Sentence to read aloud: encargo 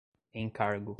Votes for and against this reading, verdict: 2, 0, accepted